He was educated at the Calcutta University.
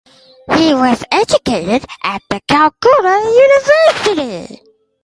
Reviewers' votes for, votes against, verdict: 4, 0, accepted